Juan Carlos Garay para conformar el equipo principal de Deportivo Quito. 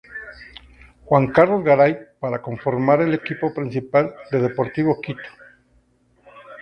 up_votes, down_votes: 2, 0